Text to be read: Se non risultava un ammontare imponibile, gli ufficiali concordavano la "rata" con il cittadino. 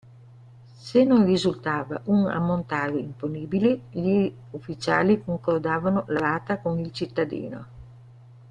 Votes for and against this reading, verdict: 2, 0, accepted